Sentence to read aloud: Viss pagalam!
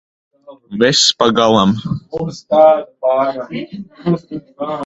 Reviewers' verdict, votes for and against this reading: rejected, 1, 2